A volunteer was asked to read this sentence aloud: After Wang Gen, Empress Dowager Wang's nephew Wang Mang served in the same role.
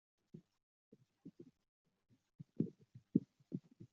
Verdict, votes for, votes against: rejected, 0, 2